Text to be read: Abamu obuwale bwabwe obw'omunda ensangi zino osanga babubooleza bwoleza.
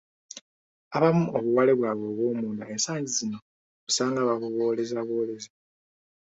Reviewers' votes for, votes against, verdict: 2, 0, accepted